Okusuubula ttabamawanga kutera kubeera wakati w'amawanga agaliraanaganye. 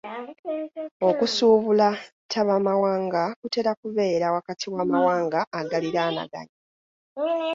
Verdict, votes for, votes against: rejected, 1, 2